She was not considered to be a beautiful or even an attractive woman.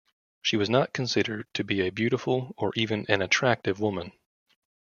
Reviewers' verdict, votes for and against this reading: rejected, 0, 2